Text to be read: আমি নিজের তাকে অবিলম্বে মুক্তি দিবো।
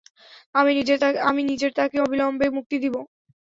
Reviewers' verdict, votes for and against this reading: rejected, 0, 3